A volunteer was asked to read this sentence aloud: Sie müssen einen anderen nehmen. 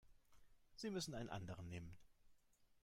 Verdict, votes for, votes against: accepted, 3, 0